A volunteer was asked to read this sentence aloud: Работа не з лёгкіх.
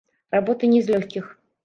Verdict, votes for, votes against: rejected, 1, 2